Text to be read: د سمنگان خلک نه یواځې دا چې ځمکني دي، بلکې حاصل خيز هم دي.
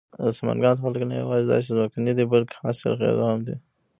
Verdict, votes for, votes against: rejected, 0, 2